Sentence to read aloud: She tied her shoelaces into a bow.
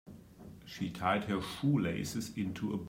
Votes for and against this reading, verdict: 0, 2, rejected